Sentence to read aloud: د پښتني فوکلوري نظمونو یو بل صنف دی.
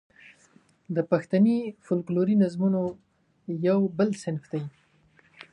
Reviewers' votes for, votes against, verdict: 2, 0, accepted